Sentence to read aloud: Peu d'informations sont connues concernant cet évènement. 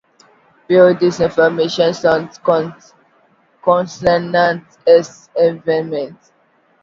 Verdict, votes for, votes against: rejected, 1, 2